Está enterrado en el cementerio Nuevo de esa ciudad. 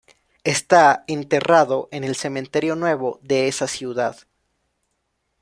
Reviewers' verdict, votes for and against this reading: rejected, 1, 2